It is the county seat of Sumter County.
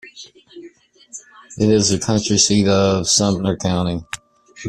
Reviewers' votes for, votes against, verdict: 0, 2, rejected